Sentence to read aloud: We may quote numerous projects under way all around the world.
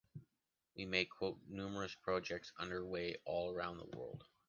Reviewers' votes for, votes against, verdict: 2, 0, accepted